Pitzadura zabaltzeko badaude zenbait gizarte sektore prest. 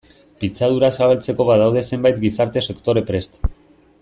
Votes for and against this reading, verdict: 2, 0, accepted